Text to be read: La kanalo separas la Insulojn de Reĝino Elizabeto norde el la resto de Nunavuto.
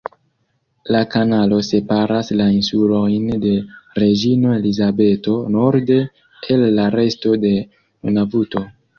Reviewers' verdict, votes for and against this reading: accepted, 2, 0